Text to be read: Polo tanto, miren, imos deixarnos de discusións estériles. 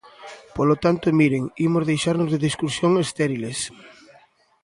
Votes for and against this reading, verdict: 0, 2, rejected